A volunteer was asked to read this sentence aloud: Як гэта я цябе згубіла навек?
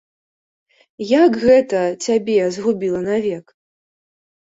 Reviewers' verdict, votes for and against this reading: rejected, 0, 2